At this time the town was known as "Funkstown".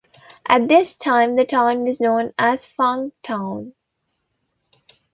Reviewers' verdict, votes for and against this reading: accepted, 2, 1